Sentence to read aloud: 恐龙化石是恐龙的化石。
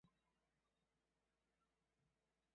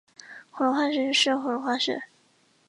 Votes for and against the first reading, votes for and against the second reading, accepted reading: 0, 4, 2, 0, second